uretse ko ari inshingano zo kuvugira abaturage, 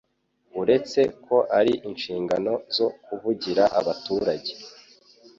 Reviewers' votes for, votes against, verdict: 3, 0, accepted